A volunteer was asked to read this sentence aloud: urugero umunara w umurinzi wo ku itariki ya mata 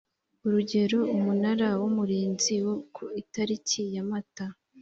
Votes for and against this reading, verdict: 2, 0, accepted